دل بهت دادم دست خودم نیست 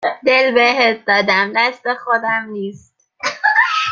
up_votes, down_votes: 2, 1